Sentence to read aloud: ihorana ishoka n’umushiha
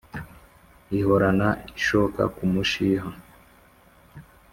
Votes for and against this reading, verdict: 3, 0, accepted